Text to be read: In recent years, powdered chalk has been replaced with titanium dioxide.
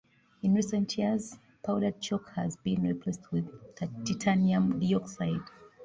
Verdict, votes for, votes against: accepted, 2, 1